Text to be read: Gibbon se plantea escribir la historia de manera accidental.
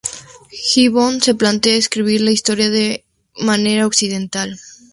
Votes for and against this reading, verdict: 4, 0, accepted